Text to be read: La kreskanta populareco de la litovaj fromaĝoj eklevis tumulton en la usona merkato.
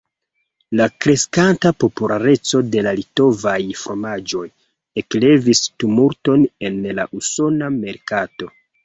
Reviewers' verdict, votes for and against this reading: rejected, 0, 2